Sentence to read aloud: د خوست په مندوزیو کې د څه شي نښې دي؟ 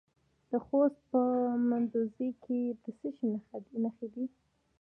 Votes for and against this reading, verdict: 1, 2, rejected